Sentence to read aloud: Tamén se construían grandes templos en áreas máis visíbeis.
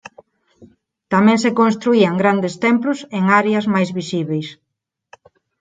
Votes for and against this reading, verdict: 4, 2, accepted